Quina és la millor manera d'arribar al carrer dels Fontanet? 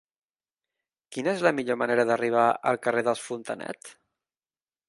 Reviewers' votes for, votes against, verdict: 3, 0, accepted